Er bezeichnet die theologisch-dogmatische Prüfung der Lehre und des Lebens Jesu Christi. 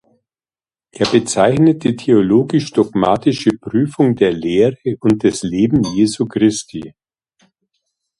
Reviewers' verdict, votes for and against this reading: rejected, 0, 2